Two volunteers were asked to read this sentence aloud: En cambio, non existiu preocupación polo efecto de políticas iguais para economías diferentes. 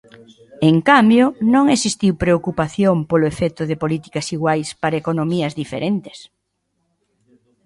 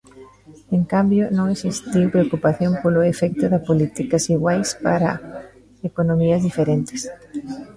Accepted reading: first